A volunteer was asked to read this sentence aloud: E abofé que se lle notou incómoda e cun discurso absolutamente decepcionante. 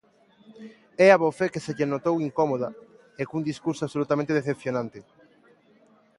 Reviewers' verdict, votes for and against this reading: accepted, 2, 1